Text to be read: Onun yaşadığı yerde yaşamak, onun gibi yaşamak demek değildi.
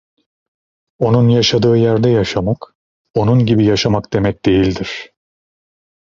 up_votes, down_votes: 0, 2